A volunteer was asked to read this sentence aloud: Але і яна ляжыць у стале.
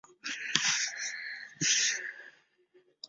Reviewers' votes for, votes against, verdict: 0, 2, rejected